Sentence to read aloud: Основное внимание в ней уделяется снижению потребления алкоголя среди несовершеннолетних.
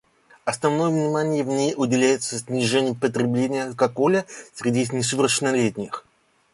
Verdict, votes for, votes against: rejected, 1, 2